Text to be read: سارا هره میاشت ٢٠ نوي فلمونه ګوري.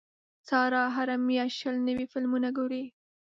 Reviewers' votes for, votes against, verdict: 0, 2, rejected